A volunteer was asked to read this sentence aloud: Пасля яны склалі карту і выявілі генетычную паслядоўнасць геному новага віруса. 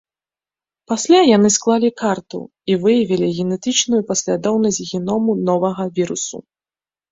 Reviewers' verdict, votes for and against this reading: rejected, 1, 2